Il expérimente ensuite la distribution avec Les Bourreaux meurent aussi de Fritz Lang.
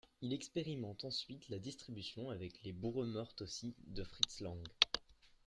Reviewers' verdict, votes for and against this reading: rejected, 0, 2